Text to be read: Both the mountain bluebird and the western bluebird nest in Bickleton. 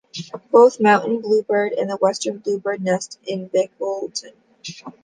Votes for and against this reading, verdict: 2, 1, accepted